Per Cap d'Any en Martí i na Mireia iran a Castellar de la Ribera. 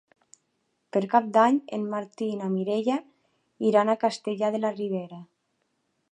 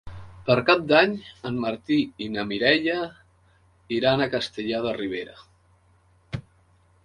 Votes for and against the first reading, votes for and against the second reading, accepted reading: 3, 0, 1, 3, first